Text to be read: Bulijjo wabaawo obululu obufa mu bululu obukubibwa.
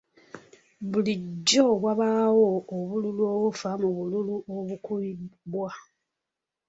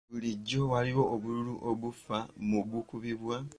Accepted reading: first